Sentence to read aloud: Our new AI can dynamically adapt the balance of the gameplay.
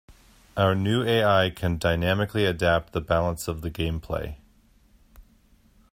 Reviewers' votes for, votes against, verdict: 2, 0, accepted